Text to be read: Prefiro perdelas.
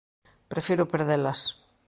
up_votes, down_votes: 2, 0